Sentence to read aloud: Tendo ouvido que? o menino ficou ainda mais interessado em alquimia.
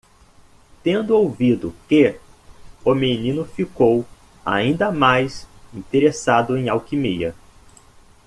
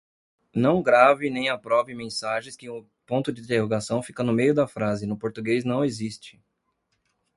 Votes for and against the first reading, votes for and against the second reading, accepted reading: 2, 0, 0, 2, first